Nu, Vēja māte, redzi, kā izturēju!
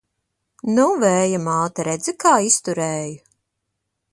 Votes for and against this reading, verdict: 2, 0, accepted